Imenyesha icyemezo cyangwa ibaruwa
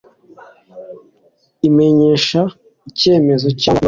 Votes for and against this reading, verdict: 2, 0, accepted